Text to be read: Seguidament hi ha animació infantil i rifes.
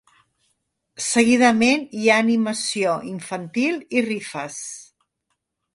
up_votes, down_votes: 3, 0